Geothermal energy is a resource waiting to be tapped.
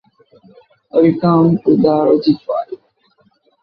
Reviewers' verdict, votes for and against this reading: rejected, 0, 2